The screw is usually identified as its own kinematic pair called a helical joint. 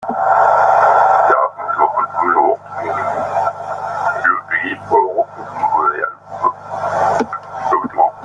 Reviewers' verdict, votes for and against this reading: rejected, 0, 2